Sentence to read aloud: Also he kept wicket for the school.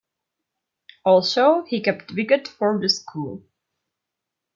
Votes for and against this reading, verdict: 2, 0, accepted